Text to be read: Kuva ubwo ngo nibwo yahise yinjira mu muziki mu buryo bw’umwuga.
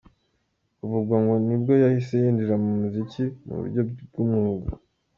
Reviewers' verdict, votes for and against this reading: accepted, 2, 0